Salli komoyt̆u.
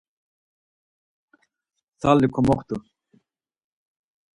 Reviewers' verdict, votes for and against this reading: rejected, 2, 4